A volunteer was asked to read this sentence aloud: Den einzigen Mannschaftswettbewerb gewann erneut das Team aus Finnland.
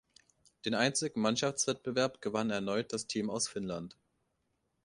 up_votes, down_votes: 2, 0